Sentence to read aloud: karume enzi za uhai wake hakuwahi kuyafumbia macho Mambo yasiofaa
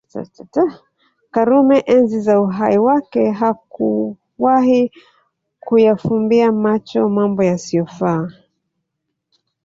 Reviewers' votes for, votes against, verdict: 2, 1, accepted